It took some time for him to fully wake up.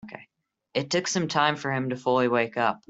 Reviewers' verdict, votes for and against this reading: accepted, 2, 0